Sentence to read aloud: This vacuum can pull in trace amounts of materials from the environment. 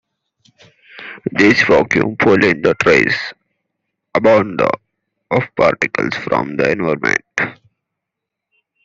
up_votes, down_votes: 1, 2